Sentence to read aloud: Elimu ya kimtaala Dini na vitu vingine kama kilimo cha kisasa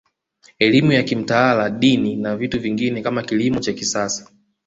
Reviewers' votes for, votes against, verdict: 2, 0, accepted